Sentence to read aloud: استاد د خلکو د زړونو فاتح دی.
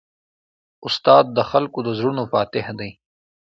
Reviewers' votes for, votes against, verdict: 2, 0, accepted